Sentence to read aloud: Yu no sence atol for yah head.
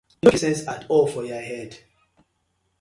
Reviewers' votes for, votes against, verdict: 0, 2, rejected